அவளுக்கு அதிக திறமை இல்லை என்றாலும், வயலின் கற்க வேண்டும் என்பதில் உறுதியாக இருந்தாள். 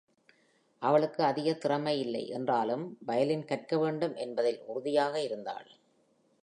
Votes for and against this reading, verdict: 2, 0, accepted